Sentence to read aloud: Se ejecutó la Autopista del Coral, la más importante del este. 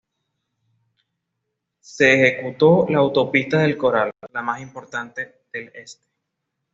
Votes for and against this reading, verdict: 2, 0, accepted